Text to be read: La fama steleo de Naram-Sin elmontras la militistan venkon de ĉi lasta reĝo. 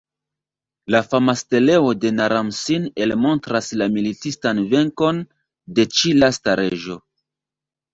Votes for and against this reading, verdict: 0, 2, rejected